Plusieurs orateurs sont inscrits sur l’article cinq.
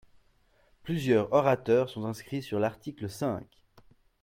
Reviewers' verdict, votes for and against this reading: rejected, 0, 2